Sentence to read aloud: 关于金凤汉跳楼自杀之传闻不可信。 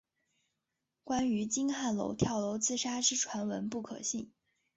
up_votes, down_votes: 2, 0